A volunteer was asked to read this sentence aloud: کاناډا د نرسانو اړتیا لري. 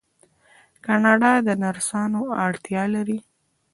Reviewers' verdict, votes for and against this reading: accepted, 2, 0